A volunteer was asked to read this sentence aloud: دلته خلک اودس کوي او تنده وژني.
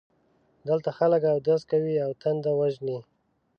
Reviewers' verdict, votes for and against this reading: accepted, 2, 0